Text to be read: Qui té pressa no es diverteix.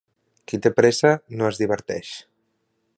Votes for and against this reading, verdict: 2, 0, accepted